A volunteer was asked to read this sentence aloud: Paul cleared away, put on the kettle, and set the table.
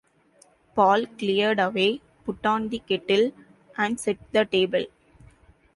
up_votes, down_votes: 2, 0